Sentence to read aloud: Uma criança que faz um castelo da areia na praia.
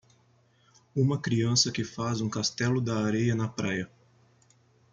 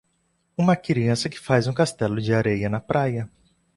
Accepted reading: first